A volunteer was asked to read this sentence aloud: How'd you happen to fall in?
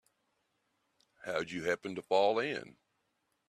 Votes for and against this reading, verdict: 2, 0, accepted